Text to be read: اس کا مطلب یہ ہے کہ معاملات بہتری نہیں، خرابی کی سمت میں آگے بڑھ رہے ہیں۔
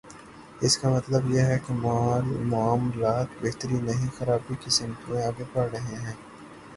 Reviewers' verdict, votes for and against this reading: rejected, 3, 6